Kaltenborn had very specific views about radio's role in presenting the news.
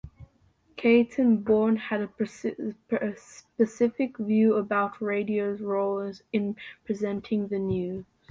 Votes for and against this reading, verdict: 0, 2, rejected